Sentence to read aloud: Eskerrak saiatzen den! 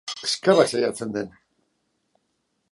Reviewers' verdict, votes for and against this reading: accepted, 2, 0